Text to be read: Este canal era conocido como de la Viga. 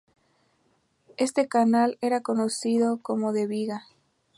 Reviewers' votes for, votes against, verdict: 2, 0, accepted